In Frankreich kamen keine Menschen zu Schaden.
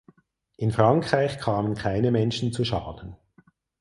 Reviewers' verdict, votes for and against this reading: accepted, 4, 0